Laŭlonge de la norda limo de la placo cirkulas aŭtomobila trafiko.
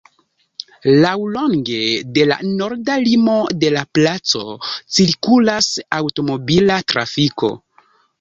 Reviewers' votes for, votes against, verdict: 1, 2, rejected